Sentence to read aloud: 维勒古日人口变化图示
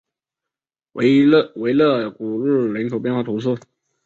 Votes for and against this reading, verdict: 1, 3, rejected